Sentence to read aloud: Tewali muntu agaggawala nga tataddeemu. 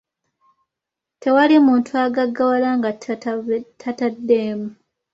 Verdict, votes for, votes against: accepted, 2, 1